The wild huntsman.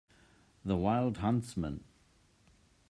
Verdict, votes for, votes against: accepted, 2, 0